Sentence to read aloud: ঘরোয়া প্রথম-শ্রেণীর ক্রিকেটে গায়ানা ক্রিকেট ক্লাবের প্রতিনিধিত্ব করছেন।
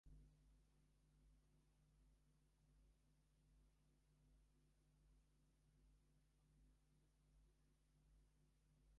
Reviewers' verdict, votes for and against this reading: rejected, 0, 2